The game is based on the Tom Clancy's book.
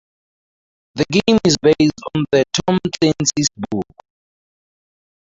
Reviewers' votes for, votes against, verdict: 2, 2, rejected